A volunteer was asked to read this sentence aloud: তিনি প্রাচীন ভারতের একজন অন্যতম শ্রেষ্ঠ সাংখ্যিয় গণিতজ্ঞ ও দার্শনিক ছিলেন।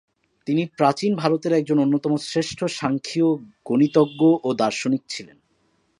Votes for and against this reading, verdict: 2, 0, accepted